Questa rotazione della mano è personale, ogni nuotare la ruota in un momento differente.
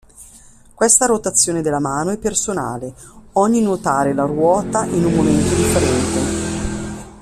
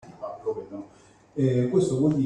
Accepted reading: first